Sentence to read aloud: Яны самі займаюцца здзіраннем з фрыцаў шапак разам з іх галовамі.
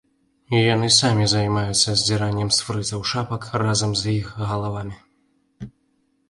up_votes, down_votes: 1, 2